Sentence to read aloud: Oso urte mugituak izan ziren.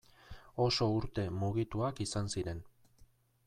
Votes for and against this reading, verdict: 2, 1, accepted